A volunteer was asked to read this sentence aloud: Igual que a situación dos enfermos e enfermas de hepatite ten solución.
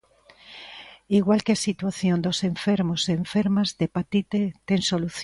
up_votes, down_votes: 0, 2